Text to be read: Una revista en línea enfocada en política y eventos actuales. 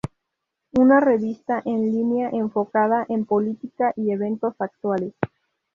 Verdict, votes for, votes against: rejected, 0, 2